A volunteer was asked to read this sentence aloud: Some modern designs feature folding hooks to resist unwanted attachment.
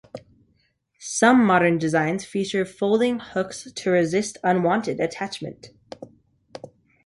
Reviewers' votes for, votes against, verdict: 2, 0, accepted